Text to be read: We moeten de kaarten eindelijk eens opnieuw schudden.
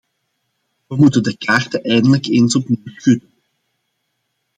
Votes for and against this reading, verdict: 1, 2, rejected